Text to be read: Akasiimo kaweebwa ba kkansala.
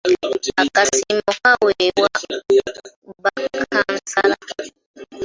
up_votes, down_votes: 1, 2